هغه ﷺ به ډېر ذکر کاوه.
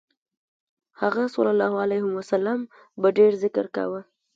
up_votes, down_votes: 2, 0